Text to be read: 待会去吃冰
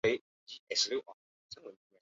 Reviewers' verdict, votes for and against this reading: rejected, 0, 2